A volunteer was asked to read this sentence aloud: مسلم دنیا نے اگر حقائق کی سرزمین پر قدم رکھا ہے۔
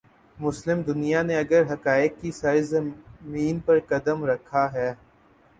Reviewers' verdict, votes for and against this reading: rejected, 0, 2